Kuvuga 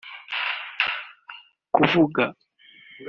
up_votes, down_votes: 2, 0